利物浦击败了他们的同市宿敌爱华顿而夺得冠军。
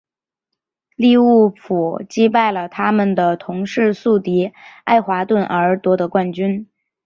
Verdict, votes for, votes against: accepted, 8, 0